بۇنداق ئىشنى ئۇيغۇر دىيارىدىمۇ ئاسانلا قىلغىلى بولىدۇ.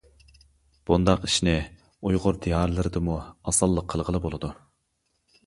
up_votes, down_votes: 0, 2